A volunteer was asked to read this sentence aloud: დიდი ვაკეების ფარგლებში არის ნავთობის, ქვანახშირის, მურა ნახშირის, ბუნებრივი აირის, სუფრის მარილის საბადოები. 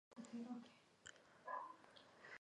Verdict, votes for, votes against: rejected, 1, 2